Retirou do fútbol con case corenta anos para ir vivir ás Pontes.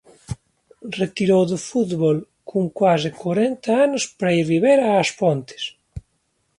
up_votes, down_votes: 1, 3